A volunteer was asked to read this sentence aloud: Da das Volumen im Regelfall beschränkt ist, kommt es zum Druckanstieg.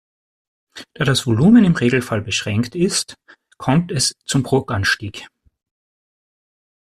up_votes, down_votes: 3, 0